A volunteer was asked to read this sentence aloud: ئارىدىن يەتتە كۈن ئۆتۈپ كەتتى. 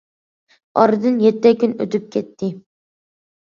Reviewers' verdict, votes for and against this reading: accepted, 2, 0